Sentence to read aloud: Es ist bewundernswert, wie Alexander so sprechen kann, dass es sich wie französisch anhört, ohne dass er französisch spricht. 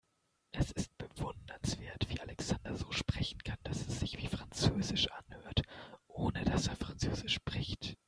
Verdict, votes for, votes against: rejected, 1, 2